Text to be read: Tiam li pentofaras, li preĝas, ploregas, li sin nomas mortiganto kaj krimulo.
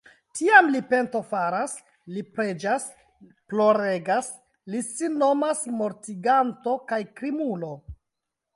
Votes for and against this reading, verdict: 2, 0, accepted